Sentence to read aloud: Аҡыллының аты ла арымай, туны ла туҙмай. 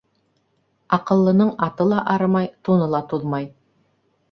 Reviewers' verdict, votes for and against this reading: accepted, 2, 0